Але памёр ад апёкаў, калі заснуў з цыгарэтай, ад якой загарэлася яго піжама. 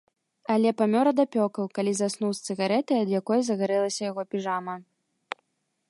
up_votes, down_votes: 3, 0